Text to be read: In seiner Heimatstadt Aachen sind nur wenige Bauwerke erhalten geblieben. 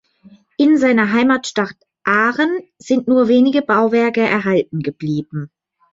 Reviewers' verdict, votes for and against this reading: rejected, 0, 2